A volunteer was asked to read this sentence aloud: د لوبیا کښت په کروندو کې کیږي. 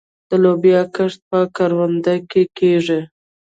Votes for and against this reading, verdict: 1, 2, rejected